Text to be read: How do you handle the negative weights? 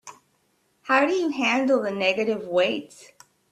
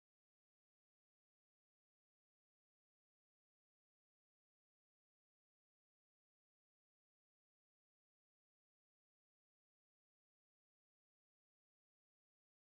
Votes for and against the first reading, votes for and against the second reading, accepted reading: 3, 0, 0, 2, first